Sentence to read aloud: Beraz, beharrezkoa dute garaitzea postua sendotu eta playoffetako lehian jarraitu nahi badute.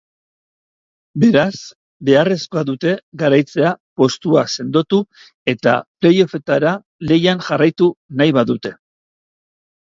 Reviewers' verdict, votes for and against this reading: rejected, 0, 2